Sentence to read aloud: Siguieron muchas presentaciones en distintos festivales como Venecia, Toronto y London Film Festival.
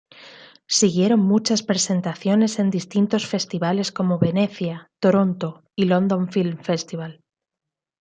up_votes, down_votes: 2, 1